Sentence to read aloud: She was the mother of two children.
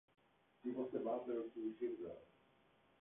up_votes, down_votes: 0, 3